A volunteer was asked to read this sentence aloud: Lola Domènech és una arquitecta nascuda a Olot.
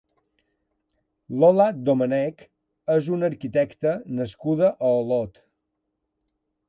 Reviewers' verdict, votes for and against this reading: rejected, 1, 2